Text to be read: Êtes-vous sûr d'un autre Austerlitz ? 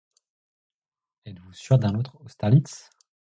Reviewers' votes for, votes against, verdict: 0, 2, rejected